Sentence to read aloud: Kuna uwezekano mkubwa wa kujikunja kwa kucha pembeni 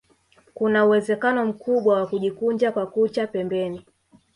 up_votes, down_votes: 2, 1